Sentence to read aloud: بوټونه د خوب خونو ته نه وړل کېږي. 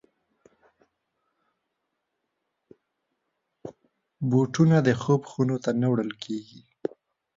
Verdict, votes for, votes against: rejected, 1, 2